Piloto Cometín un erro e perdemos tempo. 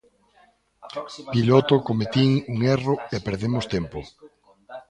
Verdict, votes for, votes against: rejected, 1, 2